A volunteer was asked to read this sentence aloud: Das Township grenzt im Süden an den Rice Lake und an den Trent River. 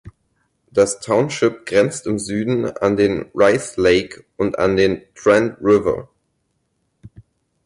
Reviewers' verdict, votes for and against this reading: accepted, 4, 0